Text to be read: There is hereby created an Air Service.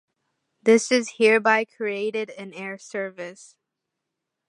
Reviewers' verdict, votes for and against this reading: rejected, 1, 2